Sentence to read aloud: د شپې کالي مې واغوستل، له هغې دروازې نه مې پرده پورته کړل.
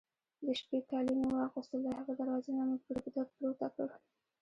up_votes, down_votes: 2, 0